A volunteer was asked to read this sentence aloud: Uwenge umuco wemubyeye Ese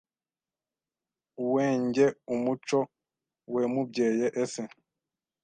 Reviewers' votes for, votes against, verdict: 1, 2, rejected